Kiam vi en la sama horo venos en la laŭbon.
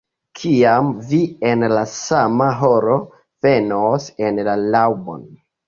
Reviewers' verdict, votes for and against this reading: accepted, 2, 0